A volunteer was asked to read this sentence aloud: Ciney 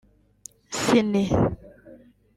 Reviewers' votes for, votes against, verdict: 1, 2, rejected